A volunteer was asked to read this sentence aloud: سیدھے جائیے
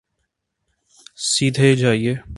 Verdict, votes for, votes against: accepted, 2, 0